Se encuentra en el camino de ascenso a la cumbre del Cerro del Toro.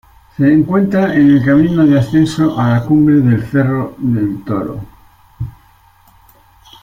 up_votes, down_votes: 2, 0